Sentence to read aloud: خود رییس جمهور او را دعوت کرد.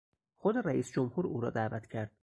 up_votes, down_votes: 4, 0